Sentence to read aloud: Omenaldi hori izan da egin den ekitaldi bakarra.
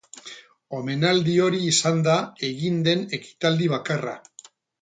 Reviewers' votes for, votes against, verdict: 0, 2, rejected